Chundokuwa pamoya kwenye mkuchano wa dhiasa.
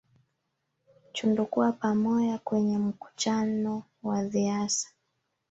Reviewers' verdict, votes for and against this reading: accepted, 2, 0